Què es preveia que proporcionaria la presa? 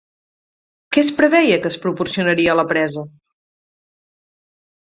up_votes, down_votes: 2, 4